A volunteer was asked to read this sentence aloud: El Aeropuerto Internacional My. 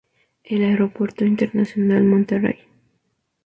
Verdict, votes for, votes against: accepted, 2, 0